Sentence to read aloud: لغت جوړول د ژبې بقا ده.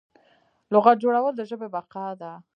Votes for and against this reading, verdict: 0, 2, rejected